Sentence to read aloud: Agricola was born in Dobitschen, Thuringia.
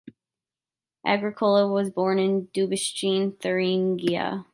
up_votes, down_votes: 2, 0